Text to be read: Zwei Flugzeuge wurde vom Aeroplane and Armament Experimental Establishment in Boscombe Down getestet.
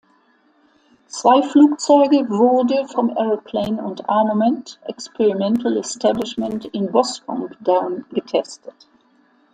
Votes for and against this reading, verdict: 2, 0, accepted